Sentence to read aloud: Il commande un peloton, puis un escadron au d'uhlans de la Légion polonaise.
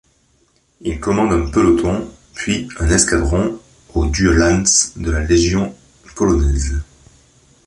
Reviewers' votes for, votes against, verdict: 2, 0, accepted